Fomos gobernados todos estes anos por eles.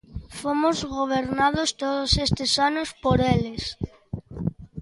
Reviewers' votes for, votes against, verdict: 2, 0, accepted